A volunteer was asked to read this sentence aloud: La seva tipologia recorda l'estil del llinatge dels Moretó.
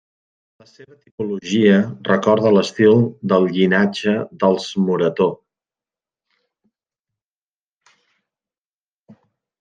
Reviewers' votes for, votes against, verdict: 1, 2, rejected